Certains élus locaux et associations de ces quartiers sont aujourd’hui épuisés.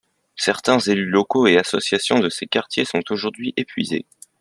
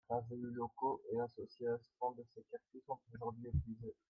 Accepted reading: first